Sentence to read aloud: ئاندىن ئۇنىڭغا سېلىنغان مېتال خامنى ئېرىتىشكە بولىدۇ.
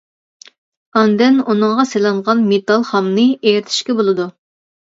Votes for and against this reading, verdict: 2, 0, accepted